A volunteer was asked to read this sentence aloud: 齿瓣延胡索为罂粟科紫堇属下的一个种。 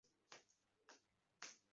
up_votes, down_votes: 0, 2